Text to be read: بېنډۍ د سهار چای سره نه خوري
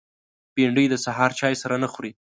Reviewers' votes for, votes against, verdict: 2, 0, accepted